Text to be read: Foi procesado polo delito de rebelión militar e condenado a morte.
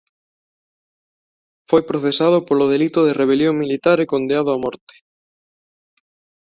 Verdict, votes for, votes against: rejected, 0, 2